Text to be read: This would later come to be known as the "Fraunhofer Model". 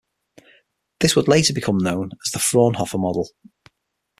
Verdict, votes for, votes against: rejected, 3, 6